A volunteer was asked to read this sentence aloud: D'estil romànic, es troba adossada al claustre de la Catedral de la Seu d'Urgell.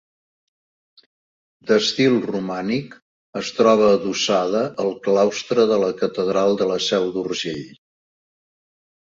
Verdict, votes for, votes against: accepted, 2, 0